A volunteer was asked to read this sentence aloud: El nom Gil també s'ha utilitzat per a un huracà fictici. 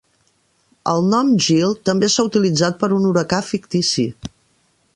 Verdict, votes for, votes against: rejected, 0, 2